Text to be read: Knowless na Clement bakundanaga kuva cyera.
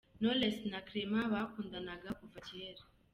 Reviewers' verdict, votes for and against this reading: accepted, 2, 0